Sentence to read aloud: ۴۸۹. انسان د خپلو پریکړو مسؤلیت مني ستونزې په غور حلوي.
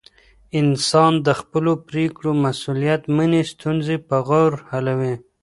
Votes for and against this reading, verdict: 0, 2, rejected